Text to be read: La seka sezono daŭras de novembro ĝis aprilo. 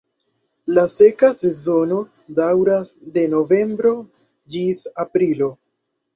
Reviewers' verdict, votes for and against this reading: accepted, 2, 0